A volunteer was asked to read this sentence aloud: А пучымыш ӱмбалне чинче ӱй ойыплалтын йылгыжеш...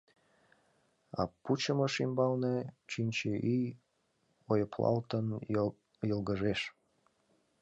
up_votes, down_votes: 0, 2